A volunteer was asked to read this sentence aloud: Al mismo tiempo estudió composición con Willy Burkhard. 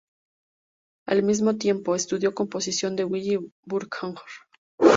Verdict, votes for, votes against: rejected, 0, 2